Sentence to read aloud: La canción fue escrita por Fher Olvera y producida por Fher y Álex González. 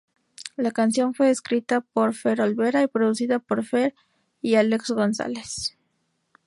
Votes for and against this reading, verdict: 2, 0, accepted